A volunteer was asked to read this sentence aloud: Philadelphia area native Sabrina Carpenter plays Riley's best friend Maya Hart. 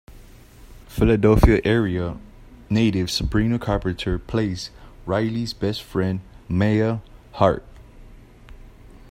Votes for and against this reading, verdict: 1, 2, rejected